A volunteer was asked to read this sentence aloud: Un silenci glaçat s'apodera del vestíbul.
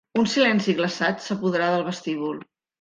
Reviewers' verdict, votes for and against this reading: rejected, 0, 2